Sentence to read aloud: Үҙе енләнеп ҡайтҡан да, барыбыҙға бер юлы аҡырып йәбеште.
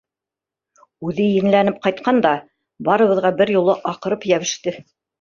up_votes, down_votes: 2, 0